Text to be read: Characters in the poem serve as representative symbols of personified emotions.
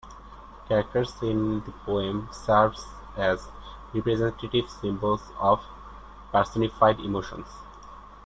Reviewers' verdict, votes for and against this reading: rejected, 1, 2